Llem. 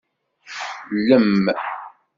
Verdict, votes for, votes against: rejected, 0, 2